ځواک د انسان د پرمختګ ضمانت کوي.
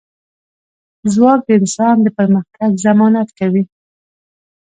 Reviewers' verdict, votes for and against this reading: accepted, 2, 0